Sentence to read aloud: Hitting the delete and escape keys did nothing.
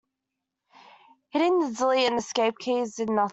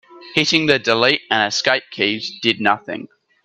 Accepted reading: second